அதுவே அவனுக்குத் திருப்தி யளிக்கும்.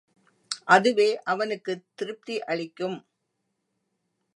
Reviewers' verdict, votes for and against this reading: accepted, 2, 0